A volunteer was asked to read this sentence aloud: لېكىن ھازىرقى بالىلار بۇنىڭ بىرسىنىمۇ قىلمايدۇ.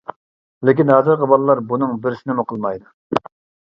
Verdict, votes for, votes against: accepted, 2, 0